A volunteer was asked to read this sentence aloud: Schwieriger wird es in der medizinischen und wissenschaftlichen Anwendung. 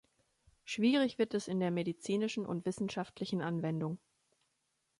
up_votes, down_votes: 1, 2